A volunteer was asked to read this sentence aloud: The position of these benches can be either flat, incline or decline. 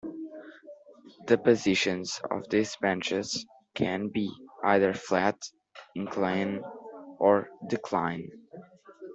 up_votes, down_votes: 1, 2